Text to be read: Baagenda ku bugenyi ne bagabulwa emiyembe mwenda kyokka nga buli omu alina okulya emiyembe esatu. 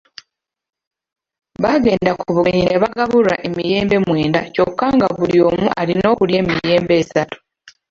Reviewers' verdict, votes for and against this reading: rejected, 1, 2